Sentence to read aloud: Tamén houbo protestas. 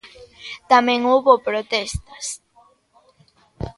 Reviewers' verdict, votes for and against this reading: accepted, 2, 0